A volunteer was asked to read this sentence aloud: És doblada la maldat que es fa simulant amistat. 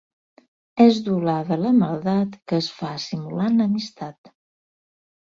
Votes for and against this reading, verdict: 4, 0, accepted